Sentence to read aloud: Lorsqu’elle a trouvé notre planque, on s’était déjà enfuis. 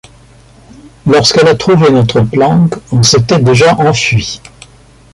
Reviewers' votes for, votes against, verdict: 2, 0, accepted